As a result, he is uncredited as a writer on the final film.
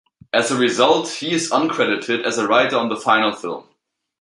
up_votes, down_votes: 2, 0